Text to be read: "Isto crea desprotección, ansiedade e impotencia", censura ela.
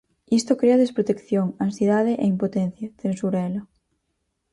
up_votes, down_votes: 4, 0